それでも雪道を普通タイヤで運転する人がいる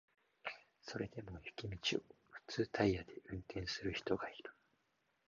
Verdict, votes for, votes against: rejected, 0, 2